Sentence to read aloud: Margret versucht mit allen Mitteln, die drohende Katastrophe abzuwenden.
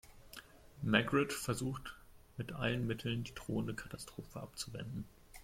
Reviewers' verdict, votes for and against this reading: rejected, 1, 2